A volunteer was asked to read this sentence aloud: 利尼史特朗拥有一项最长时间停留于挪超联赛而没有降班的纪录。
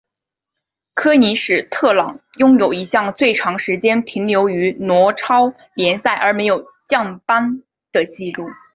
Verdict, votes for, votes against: rejected, 2, 2